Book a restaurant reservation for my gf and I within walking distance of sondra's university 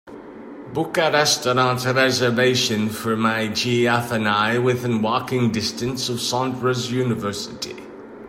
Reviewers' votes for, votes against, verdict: 2, 0, accepted